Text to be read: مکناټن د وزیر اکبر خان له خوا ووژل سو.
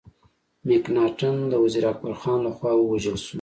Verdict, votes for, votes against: rejected, 1, 2